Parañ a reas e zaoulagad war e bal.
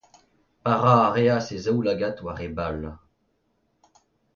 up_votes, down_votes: 2, 0